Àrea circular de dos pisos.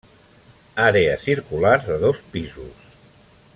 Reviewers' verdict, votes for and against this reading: accepted, 2, 0